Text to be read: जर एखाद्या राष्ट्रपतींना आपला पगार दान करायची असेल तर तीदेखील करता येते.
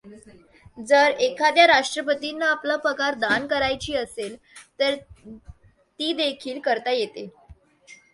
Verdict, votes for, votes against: accepted, 2, 0